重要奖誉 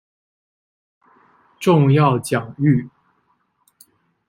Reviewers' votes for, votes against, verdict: 2, 0, accepted